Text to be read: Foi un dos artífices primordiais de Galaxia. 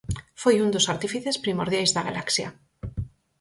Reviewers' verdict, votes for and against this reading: rejected, 0, 4